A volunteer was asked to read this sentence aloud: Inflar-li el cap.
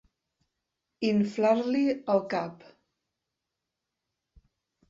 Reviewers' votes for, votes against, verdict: 2, 0, accepted